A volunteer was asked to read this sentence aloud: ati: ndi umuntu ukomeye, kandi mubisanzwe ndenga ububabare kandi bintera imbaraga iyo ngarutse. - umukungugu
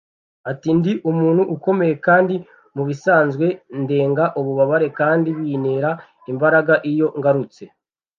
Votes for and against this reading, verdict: 0, 2, rejected